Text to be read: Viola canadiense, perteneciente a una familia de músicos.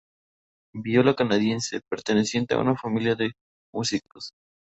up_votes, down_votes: 0, 2